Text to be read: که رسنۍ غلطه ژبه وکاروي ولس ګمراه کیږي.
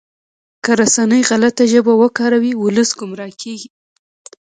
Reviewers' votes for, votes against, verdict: 2, 1, accepted